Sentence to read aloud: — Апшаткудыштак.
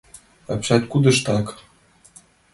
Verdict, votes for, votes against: accepted, 2, 0